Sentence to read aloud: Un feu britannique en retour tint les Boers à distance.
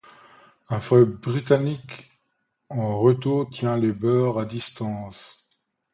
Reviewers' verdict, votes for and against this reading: rejected, 1, 2